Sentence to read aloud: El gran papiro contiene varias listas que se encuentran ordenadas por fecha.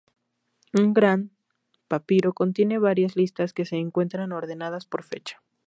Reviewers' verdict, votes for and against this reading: rejected, 0, 4